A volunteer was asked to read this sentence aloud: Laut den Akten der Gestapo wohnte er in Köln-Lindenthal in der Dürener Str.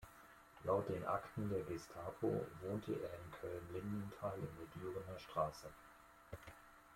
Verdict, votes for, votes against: accepted, 2, 1